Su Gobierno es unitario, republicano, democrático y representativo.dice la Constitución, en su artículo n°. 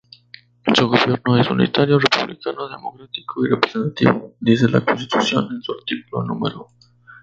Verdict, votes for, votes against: rejected, 0, 2